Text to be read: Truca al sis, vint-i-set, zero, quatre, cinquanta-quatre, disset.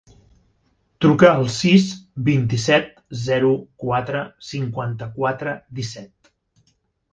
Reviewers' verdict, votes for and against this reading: accepted, 4, 0